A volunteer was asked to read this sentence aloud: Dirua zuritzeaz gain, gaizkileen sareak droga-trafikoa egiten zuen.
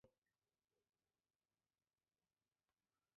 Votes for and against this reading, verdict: 1, 2, rejected